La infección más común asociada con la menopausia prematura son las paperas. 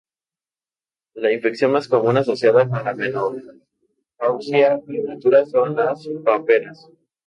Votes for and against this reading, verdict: 2, 0, accepted